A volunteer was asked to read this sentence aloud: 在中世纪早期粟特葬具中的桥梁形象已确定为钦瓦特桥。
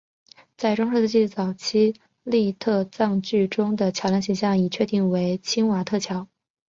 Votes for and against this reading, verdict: 2, 0, accepted